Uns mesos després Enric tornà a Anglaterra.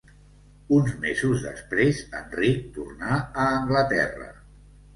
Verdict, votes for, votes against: accepted, 2, 1